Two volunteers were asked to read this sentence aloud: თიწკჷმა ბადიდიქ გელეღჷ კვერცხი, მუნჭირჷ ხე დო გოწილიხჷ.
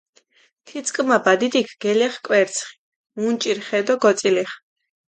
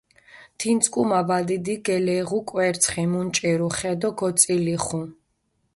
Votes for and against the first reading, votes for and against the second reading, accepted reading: 2, 0, 0, 2, first